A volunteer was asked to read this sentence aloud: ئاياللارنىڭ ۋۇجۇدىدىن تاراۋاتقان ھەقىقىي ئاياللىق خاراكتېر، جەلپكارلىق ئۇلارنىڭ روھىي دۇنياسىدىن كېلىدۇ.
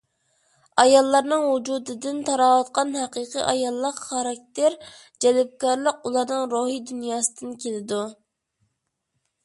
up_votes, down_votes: 2, 0